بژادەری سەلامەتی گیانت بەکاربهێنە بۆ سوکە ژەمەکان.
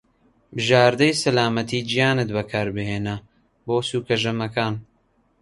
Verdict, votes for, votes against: accepted, 2, 1